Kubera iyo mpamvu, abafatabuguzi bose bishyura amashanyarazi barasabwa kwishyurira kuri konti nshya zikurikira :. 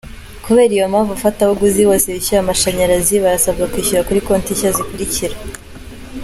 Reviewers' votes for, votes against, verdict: 2, 0, accepted